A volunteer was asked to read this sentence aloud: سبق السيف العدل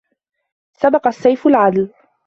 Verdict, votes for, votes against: rejected, 1, 2